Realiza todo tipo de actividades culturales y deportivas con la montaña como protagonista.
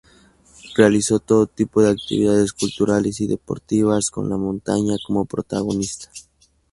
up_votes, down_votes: 0, 2